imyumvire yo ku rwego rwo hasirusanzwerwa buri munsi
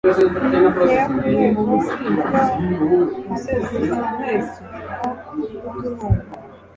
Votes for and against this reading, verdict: 0, 2, rejected